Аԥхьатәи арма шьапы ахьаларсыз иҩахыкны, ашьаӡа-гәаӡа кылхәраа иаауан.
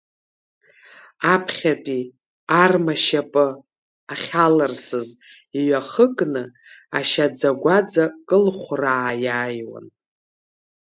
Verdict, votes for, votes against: rejected, 0, 2